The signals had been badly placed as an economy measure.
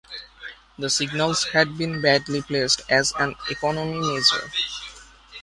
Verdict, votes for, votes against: rejected, 1, 2